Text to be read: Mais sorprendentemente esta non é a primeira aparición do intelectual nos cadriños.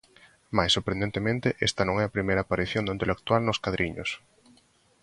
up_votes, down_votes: 2, 0